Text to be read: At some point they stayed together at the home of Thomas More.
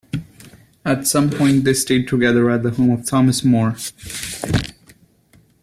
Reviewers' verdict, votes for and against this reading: accepted, 2, 0